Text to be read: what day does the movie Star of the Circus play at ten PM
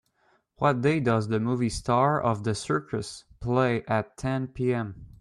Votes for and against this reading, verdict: 2, 0, accepted